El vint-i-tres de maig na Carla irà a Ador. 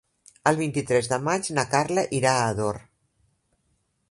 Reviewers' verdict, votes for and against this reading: accepted, 2, 0